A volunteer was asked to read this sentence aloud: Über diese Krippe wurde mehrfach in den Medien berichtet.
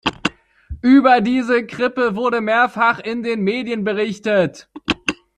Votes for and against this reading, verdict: 1, 2, rejected